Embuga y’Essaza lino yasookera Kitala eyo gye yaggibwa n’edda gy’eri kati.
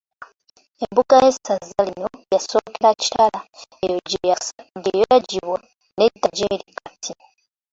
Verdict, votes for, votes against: accepted, 2, 1